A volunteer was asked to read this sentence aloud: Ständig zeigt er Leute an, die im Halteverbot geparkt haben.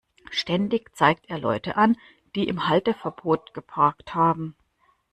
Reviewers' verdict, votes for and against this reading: accepted, 2, 0